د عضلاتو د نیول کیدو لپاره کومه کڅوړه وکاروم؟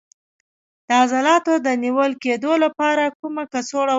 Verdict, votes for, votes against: accepted, 2, 0